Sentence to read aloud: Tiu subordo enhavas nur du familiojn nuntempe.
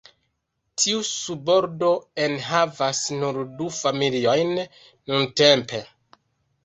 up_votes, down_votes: 1, 2